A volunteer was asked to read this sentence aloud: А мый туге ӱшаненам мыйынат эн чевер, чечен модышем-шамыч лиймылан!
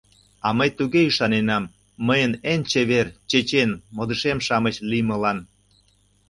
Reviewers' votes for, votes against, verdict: 0, 2, rejected